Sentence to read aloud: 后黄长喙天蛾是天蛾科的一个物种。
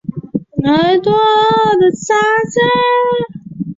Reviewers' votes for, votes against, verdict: 0, 3, rejected